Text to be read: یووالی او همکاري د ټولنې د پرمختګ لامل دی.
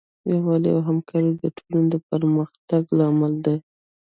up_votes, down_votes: 0, 2